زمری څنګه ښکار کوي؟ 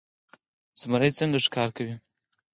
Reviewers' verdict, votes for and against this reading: rejected, 0, 4